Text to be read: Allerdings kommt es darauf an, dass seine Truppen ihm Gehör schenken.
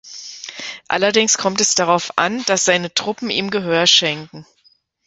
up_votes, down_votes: 2, 0